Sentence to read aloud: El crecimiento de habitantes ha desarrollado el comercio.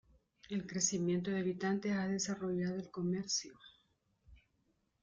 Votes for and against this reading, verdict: 2, 1, accepted